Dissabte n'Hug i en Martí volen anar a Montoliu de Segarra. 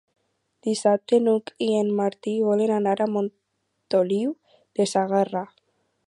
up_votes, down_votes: 4, 0